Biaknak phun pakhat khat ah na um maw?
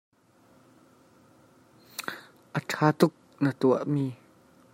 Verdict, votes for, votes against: rejected, 0, 2